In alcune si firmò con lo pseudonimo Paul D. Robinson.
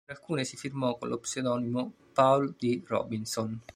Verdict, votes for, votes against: rejected, 1, 2